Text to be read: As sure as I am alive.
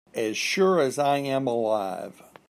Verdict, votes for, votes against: rejected, 1, 2